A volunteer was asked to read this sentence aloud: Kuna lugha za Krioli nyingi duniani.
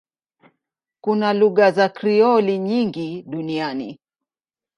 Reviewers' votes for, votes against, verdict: 2, 0, accepted